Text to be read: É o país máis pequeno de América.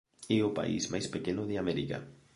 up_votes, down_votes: 1, 2